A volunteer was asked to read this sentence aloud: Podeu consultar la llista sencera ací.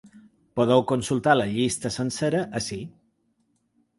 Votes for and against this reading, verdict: 3, 0, accepted